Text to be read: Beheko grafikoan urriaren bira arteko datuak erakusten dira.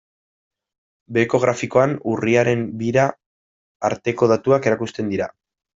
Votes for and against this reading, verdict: 1, 2, rejected